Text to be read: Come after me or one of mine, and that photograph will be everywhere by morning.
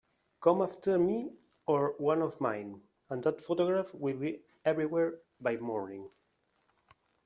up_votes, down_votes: 2, 0